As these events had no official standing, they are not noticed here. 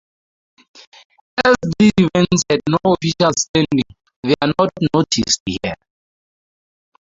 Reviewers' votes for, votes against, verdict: 0, 2, rejected